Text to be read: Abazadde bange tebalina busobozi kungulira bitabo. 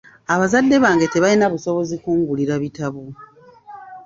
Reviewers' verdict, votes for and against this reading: accepted, 2, 0